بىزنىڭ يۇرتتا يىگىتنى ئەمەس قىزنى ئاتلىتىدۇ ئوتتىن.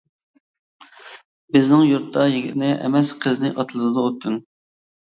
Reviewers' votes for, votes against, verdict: 1, 2, rejected